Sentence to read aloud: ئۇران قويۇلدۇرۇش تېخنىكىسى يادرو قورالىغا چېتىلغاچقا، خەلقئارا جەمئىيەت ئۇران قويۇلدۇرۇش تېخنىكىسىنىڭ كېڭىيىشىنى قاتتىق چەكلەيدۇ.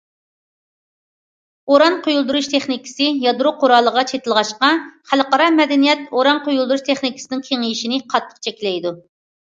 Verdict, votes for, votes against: rejected, 1, 2